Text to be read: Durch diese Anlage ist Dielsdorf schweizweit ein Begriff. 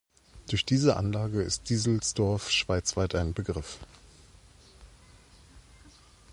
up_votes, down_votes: 1, 2